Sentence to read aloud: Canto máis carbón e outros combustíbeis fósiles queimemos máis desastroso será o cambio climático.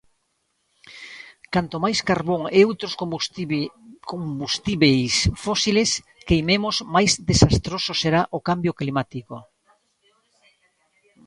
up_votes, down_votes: 0, 3